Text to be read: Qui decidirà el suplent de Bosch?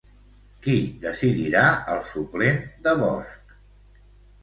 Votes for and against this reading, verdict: 0, 2, rejected